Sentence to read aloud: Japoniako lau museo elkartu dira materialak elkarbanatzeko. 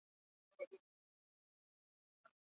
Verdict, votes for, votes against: accepted, 2, 0